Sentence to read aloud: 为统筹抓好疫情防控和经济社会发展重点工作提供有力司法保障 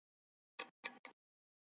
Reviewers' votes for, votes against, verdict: 0, 3, rejected